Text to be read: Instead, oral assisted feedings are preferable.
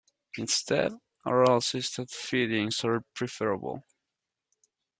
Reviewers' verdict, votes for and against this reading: rejected, 1, 2